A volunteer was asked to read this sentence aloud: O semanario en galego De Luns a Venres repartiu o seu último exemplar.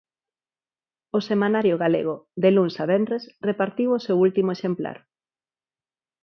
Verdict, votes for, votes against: rejected, 0, 4